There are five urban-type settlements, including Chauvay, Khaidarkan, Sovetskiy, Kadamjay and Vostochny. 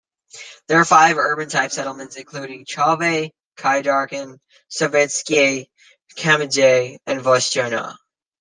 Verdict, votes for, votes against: accepted, 2, 0